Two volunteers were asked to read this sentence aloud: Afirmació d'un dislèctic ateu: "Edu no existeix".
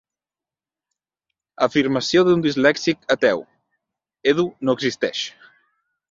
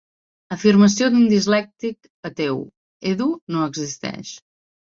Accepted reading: second